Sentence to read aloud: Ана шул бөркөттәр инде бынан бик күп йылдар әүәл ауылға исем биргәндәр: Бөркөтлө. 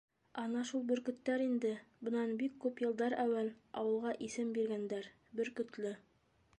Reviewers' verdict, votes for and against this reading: rejected, 1, 2